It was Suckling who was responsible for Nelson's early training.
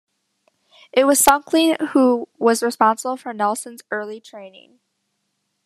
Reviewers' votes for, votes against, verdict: 2, 0, accepted